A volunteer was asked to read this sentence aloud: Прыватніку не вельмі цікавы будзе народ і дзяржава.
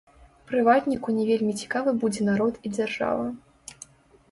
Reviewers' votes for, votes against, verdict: 1, 2, rejected